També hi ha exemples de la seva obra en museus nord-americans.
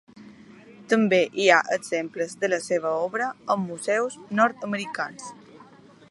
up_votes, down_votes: 2, 0